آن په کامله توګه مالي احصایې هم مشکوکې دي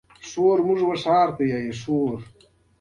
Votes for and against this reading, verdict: 2, 1, accepted